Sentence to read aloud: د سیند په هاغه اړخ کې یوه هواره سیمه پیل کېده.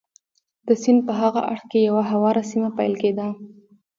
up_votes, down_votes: 2, 1